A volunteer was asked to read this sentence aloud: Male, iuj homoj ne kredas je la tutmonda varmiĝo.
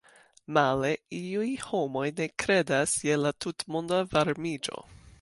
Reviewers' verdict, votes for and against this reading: accepted, 2, 0